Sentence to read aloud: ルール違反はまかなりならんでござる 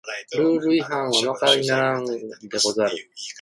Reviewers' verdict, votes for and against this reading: rejected, 0, 2